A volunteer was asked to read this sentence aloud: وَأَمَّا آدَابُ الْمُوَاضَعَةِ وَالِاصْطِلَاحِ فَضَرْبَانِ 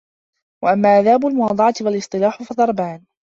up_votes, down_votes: 1, 2